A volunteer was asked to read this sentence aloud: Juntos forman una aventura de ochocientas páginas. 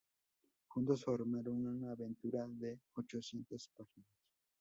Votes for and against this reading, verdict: 0, 2, rejected